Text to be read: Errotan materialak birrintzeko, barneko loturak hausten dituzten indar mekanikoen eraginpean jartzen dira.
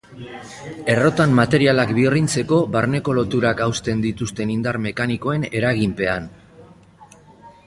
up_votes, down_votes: 1, 3